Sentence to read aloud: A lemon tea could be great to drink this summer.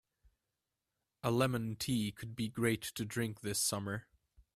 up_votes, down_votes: 2, 0